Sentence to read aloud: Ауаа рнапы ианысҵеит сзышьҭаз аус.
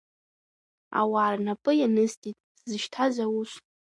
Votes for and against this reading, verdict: 2, 0, accepted